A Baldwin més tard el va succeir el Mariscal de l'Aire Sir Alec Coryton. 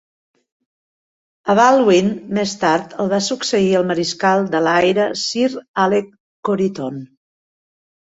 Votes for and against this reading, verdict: 3, 0, accepted